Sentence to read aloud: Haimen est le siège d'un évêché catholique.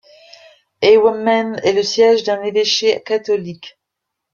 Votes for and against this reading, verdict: 0, 2, rejected